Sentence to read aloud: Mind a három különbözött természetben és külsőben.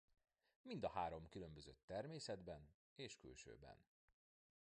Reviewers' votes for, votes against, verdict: 1, 2, rejected